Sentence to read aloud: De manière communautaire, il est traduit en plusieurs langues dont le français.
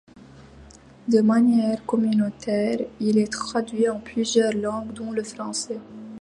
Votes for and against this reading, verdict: 2, 0, accepted